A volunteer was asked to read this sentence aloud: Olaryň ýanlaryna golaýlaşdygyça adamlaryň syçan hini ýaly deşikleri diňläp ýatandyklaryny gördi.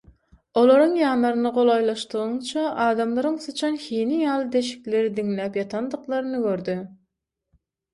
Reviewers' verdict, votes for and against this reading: rejected, 0, 6